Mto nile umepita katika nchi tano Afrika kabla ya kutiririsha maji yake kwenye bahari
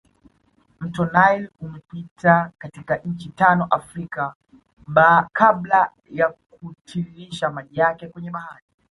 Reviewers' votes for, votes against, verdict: 2, 1, accepted